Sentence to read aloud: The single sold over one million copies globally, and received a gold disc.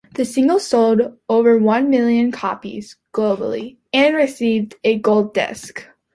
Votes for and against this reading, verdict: 2, 0, accepted